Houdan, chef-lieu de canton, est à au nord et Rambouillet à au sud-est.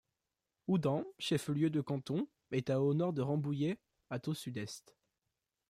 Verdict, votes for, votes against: rejected, 0, 2